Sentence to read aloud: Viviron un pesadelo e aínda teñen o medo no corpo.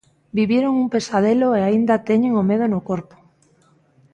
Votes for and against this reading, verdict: 2, 0, accepted